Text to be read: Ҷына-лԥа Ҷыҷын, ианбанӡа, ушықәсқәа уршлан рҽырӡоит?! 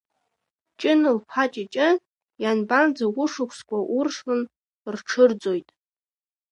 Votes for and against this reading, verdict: 2, 1, accepted